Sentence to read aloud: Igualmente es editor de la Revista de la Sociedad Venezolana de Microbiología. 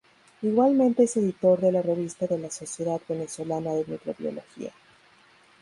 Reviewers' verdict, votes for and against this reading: accepted, 4, 0